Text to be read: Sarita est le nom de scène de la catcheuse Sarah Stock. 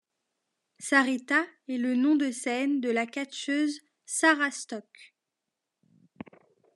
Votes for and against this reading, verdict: 2, 1, accepted